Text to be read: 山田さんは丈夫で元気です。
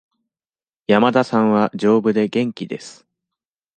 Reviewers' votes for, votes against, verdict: 2, 0, accepted